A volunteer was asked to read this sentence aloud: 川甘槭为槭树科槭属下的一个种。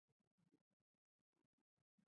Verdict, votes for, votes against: accepted, 2, 0